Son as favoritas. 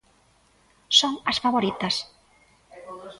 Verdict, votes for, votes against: rejected, 1, 2